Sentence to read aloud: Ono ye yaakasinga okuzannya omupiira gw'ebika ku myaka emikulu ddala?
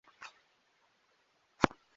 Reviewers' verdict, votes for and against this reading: rejected, 0, 2